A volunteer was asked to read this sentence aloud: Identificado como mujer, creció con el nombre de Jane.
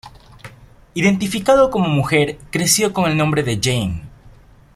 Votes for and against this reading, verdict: 0, 2, rejected